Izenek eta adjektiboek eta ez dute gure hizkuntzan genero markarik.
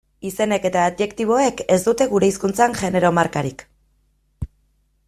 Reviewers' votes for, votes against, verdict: 1, 2, rejected